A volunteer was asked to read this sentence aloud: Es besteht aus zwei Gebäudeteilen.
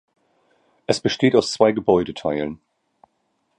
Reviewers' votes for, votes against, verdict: 2, 0, accepted